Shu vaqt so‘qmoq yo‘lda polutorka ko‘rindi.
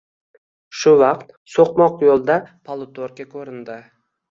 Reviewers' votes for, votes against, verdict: 2, 0, accepted